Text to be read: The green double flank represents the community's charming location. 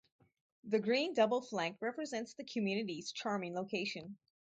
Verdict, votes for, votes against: accepted, 4, 0